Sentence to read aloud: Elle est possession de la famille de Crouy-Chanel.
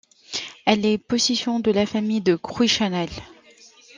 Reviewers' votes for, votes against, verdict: 2, 0, accepted